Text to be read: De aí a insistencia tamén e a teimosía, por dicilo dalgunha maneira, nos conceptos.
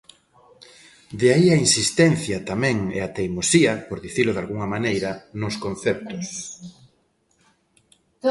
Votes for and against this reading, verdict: 2, 0, accepted